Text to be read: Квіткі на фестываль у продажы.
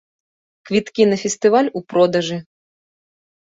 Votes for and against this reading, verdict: 2, 0, accepted